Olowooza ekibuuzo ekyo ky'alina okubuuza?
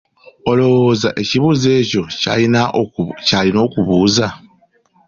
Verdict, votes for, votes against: accepted, 2, 1